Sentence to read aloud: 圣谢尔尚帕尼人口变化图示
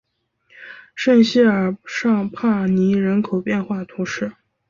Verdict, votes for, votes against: accepted, 5, 0